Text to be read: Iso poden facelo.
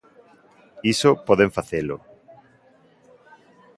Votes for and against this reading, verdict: 1, 2, rejected